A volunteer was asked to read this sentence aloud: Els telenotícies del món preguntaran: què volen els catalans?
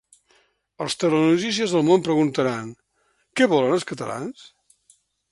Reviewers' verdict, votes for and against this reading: rejected, 1, 2